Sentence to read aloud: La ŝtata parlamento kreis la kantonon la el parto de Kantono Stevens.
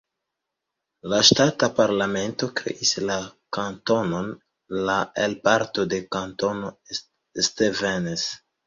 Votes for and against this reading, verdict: 2, 0, accepted